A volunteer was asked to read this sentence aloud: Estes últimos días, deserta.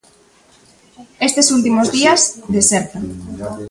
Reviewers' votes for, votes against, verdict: 2, 1, accepted